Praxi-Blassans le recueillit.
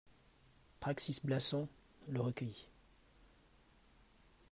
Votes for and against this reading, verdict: 2, 1, accepted